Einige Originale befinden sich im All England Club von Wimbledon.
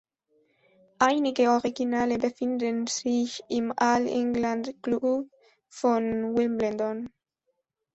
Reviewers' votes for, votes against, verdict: 0, 2, rejected